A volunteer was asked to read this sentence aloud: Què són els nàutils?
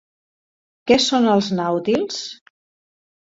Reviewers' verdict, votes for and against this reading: accepted, 2, 0